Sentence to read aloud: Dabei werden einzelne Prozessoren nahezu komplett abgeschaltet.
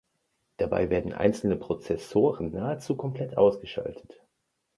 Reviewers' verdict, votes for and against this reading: rejected, 0, 2